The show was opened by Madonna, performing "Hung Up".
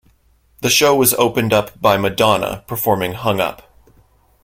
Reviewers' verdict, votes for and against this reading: accepted, 2, 0